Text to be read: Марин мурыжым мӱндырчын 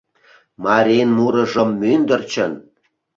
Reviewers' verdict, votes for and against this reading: accepted, 2, 0